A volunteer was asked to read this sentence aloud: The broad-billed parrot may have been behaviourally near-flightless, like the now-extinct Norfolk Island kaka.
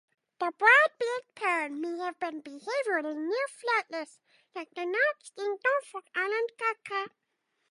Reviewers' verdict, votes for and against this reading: accepted, 2, 0